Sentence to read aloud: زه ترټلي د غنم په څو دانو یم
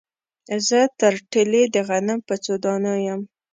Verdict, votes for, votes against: accepted, 2, 0